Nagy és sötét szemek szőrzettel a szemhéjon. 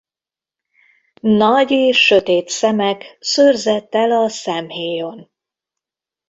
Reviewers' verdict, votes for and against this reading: accepted, 2, 0